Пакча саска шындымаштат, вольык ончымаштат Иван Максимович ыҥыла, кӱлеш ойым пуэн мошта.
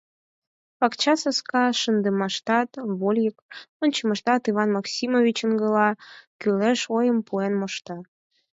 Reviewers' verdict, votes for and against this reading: accepted, 4, 0